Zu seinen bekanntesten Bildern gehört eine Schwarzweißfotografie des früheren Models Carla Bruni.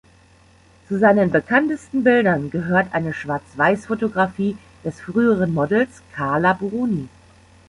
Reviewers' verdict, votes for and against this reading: rejected, 1, 2